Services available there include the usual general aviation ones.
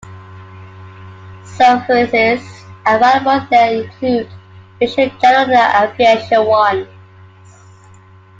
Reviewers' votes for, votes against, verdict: 2, 1, accepted